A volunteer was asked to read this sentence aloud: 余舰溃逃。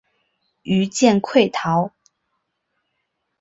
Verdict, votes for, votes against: accepted, 2, 0